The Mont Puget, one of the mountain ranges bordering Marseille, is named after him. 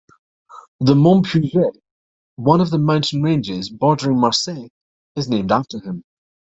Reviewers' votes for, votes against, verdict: 0, 2, rejected